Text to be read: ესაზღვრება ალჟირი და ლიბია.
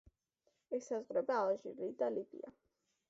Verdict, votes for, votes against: accepted, 2, 0